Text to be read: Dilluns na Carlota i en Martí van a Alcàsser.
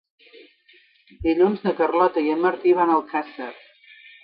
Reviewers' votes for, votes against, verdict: 4, 0, accepted